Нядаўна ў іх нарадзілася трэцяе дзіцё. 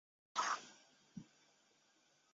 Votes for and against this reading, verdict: 0, 2, rejected